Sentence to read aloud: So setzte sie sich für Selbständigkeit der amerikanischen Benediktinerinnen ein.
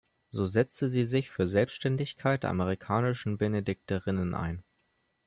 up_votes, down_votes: 1, 2